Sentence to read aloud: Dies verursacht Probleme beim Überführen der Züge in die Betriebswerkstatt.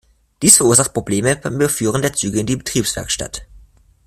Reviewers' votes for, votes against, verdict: 0, 2, rejected